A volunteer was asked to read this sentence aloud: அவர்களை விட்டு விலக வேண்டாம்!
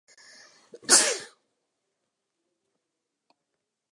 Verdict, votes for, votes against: rejected, 0, 2